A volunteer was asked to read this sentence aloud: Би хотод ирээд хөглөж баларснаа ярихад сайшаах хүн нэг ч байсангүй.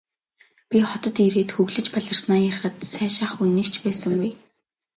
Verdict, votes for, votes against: rejected, 1, 2